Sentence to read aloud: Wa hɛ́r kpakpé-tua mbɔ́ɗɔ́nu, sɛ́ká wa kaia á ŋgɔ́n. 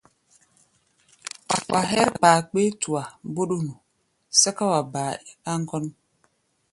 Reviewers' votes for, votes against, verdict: 0, 2, rejected